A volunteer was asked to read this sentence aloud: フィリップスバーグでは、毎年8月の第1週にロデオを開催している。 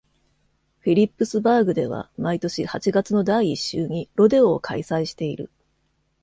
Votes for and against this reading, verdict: 0, 2, rejected